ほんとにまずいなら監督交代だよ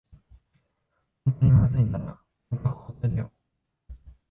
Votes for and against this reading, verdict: 5, 11, rejected